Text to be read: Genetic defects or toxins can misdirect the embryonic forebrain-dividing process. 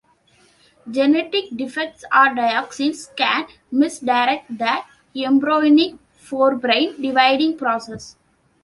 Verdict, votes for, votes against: rejected, 0, 2